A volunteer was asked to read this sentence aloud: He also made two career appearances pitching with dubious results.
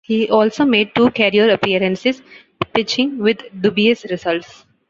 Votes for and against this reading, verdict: 2, 0, accepted